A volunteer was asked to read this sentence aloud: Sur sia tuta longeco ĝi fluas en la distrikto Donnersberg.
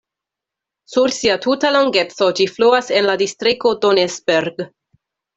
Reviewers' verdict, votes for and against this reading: rejected, 0, 2